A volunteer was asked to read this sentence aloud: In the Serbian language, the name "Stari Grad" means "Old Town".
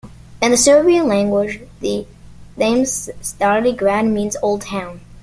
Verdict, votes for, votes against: accepted, 2, 0